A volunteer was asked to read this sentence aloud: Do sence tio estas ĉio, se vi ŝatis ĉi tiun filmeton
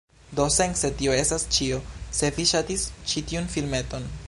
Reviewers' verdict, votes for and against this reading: accepted, 2, 0